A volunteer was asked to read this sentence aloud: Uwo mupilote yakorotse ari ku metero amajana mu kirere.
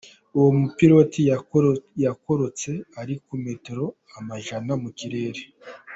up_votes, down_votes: 1, 3